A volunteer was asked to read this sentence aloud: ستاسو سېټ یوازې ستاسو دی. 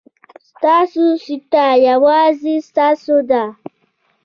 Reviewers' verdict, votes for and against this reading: accepted, 2, 0